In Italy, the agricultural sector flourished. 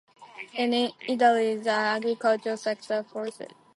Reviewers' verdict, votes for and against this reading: rejected, 0, 2